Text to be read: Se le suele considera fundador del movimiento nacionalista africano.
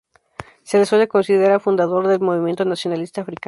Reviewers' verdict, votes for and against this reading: rejected, 0, 2